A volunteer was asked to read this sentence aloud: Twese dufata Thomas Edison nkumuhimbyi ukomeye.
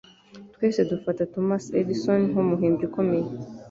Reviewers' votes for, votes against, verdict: 2, 0, accepted